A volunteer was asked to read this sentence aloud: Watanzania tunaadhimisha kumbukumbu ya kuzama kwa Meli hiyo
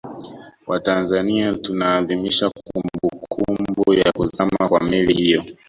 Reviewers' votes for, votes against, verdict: 1, 2, rejected